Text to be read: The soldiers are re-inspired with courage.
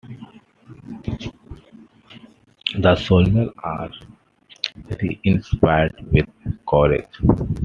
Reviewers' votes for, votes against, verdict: 1, 2, rejected